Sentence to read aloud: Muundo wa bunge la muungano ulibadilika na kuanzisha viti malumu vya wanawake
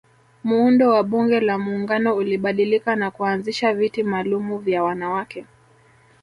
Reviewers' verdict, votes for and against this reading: accepted, 2, 0